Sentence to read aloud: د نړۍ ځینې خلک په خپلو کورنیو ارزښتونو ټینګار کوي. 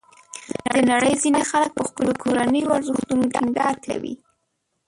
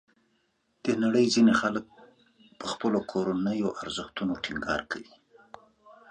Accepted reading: second